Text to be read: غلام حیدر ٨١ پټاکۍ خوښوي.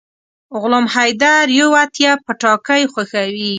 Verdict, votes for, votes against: rejected, 0, 2